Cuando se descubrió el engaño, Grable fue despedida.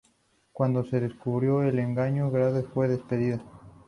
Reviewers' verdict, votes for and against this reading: rejected, 0, 2